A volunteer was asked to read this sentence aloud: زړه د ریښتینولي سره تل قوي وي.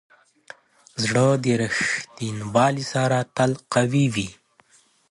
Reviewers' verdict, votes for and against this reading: rejected, 1, 2